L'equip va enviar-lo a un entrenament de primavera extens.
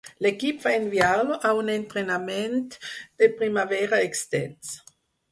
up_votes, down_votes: 4, 0